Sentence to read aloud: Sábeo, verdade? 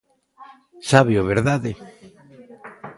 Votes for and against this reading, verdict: 2, 0, accepted